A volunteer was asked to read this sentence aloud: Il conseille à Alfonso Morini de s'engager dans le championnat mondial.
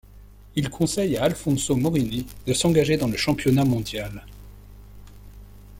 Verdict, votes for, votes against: accepted, 2, 0